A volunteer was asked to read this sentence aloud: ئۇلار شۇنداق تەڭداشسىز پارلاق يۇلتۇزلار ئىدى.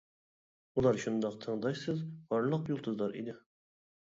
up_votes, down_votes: 0, 2